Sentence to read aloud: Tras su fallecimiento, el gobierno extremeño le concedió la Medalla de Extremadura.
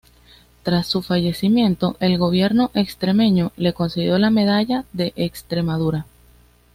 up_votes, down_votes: 2, 0